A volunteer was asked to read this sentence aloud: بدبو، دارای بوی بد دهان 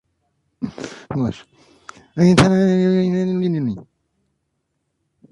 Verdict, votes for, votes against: rejected, 1, 2